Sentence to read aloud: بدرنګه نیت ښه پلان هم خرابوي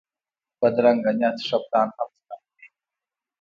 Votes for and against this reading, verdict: 2, 1, accepted